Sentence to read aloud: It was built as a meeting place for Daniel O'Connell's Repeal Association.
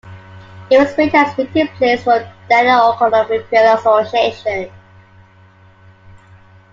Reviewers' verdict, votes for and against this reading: rejected, 1, 2